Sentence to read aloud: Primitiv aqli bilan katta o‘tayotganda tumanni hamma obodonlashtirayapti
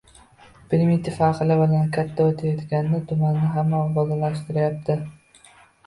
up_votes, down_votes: 2, 0